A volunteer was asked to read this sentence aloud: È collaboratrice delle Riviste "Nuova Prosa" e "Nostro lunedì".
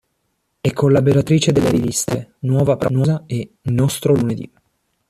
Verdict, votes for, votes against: accepted, 2, 1